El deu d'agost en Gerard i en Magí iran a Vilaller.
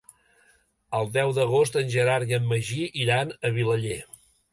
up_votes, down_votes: 3, 0